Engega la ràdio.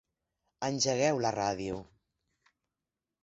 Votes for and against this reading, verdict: 0, 6, rejected